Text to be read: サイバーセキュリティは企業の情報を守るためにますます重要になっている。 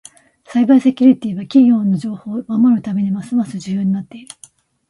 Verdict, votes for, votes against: accepted, 2, 0